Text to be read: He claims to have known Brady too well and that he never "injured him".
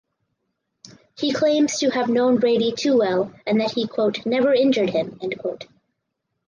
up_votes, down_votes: 0, 4